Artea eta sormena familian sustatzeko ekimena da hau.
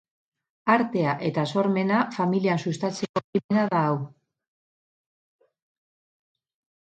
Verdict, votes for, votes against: rejected, 0, 2